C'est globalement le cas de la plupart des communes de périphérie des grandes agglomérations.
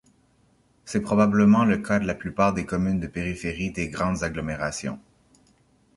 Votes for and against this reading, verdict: 0, 2, rejected